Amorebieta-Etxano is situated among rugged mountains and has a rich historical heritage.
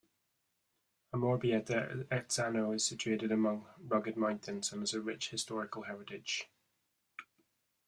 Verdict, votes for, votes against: accepted, 2, 0